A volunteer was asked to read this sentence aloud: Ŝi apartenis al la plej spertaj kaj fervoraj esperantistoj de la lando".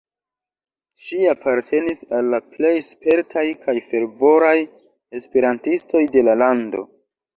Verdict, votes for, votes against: accepted, 2, 0